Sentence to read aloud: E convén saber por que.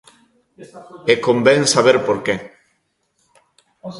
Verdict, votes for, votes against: rejected, 0, 2